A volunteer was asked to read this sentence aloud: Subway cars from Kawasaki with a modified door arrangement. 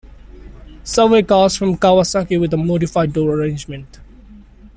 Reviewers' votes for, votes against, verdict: 2, 0, accepted